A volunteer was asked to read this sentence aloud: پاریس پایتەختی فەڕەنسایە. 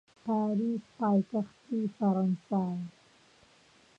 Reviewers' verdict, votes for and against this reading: rejected, 0, 2